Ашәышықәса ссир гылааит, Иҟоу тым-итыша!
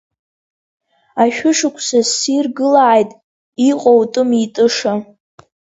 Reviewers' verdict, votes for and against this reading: accepted, 2, 0